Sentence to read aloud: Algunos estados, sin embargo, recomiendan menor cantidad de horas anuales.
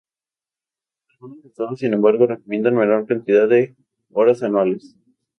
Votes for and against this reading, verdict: 0, 2, rejected